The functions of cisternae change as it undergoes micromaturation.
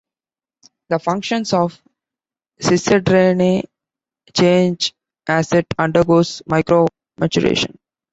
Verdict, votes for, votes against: rejected, 0, 2